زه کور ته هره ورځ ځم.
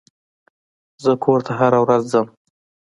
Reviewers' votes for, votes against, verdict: 2, 0, accepted